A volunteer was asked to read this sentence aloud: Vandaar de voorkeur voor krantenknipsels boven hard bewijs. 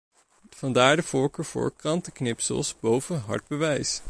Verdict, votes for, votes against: accepted, 2, 0